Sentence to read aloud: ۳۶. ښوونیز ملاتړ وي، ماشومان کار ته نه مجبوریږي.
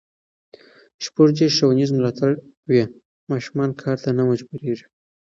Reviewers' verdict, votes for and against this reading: rejected, 0, 2